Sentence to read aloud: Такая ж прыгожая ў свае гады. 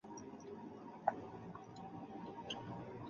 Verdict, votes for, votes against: rejected, 1, 3